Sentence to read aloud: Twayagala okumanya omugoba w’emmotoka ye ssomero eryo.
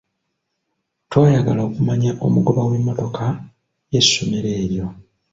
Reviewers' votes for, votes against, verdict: 2, 0, accepted